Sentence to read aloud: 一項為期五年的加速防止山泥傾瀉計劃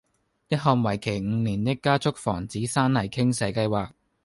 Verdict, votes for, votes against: accepted, 2, 0